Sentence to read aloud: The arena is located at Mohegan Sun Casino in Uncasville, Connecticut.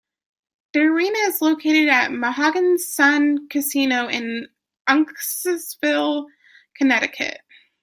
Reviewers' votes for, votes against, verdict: 0, 2, rejected